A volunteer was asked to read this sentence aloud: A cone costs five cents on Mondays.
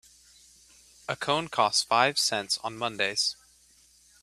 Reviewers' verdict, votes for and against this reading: accepted, 2, 0